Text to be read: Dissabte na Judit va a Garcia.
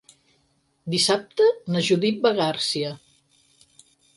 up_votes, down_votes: 0, 4